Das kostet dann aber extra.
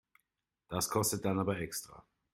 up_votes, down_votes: 2, 0